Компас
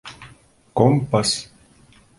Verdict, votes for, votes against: accepted, 2, 1